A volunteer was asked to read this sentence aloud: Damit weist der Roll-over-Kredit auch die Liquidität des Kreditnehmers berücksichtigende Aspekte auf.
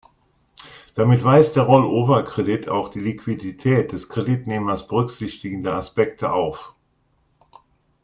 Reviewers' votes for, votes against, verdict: 2, 0, accepted